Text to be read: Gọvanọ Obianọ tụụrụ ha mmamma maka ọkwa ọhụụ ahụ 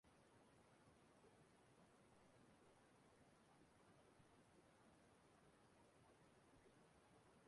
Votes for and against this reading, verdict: 0, 2, rejected